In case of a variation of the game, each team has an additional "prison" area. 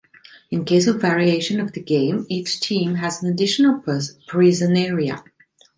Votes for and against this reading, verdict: 0, 2, rejected